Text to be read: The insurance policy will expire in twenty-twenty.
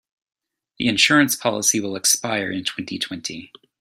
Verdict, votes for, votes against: accepted, 2, 0